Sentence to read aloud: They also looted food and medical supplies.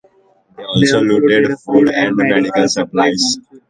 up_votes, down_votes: 1, 2